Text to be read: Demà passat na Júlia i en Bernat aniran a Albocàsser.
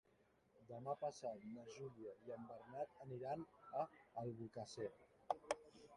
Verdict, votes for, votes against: rejected, 3, 4